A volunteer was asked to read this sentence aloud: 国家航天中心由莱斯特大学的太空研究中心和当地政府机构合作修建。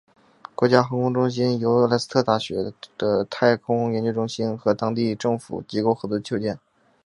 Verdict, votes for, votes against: accepted, 3, 1